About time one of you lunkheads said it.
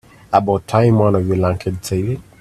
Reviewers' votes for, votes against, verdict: 2, 0, accepted